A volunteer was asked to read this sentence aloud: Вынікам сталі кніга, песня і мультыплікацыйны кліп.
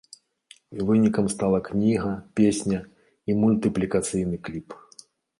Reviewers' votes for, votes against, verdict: 1, 2, rejected